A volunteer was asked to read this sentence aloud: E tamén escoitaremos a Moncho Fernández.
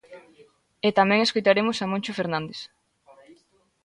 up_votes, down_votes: 2, 0